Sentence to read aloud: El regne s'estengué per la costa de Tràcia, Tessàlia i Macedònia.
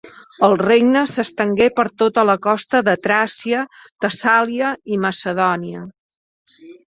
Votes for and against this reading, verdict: 1, 2, rejected